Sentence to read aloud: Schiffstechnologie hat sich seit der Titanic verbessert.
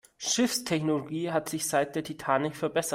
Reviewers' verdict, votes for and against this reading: rejected, 1, 2